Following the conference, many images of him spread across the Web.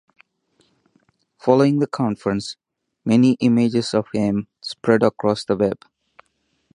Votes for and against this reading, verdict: 4, 0, accepted